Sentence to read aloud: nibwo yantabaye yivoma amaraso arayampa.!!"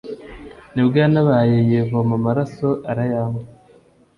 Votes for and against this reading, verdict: 2, 0, accepted